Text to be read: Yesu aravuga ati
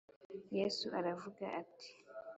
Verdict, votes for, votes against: accepted, 4, 0